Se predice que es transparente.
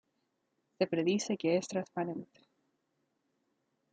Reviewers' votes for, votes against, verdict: 2, 0, accepted